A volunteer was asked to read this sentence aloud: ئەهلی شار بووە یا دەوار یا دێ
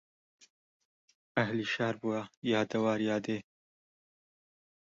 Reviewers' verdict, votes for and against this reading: rejected, 1, 2